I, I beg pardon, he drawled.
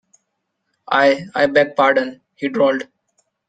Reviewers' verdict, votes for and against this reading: accepted, 2, 0